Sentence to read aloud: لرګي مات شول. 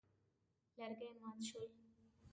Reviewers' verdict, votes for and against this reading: rejected, 0, 2